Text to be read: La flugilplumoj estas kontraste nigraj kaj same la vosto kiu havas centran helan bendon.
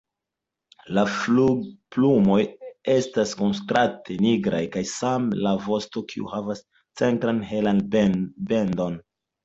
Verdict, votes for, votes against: accepted, 2, 1